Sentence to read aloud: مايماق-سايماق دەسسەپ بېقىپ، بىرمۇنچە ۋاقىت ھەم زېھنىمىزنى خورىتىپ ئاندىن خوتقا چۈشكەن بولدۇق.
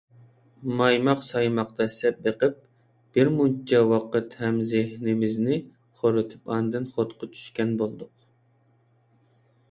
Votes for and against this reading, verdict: 1, 2, rejected